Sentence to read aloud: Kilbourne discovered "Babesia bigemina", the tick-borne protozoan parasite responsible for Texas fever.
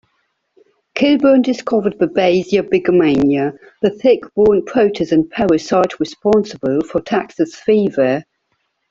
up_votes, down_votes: 2, 0